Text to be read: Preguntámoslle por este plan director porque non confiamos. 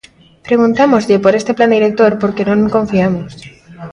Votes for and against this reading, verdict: 1, 2, rejected